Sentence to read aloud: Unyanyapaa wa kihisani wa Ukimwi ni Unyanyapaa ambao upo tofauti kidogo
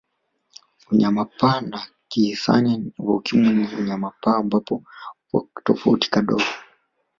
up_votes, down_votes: 0, 2